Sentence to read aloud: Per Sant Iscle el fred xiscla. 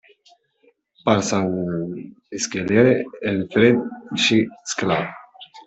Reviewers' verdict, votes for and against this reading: rejected, 0, 2